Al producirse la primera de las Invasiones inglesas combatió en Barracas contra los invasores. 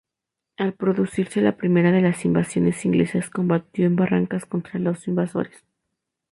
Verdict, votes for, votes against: accepted, 4, 0